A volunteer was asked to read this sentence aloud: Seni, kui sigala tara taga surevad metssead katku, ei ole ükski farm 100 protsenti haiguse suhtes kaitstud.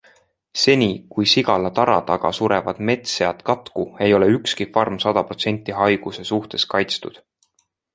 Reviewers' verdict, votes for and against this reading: rejected, 0, 2